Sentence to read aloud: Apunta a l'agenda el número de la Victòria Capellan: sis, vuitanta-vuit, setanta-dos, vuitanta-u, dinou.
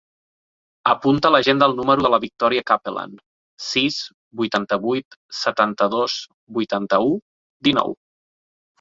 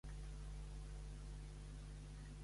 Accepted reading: first